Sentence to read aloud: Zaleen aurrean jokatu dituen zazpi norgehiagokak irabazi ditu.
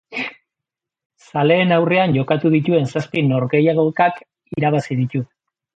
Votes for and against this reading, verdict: 2, 0, accepted